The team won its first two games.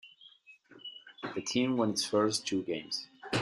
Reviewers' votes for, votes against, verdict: 2, 0, accepted